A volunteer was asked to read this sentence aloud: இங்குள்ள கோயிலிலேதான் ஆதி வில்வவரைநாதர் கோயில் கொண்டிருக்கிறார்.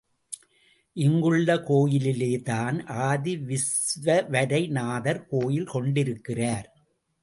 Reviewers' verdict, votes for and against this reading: rejected, 0, 2